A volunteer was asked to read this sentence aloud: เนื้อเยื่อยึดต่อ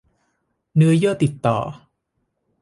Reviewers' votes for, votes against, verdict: 1, 2, rejected